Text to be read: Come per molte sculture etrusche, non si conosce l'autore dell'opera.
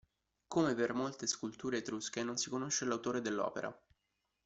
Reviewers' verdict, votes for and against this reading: accepted, 2, 1